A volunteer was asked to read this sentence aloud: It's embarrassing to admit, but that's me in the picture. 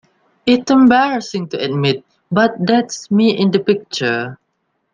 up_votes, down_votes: 0, 2